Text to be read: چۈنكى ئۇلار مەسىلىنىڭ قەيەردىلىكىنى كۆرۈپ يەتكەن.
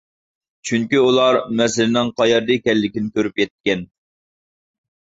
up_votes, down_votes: 0, 2